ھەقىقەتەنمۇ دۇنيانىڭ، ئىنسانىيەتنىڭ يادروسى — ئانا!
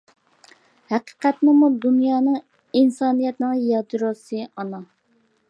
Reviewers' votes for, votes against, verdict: 0, 2, rejected